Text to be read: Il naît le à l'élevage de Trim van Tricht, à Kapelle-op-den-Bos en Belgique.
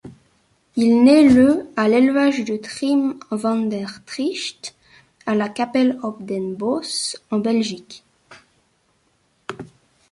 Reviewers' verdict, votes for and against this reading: rejected, 1, 2